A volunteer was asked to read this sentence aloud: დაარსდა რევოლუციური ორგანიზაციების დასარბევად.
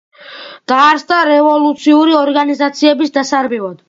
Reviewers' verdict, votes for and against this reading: accepted, 2, 1